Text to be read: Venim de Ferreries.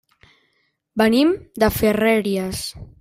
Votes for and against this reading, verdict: 0, 2, rejected